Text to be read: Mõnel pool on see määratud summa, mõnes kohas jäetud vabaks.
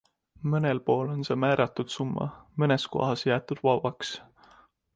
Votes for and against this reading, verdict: 2, 0, accepted